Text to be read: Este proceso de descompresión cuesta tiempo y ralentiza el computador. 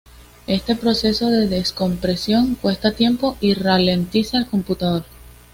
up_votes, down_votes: 2, 0